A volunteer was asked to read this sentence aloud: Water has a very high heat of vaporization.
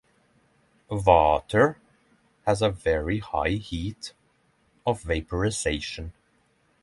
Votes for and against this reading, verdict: 3, 3, rejected